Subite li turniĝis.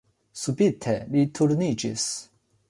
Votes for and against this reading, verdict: 2, 0, accepted